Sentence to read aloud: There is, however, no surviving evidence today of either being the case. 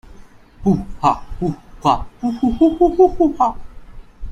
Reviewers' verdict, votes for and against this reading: rejected, 0, 2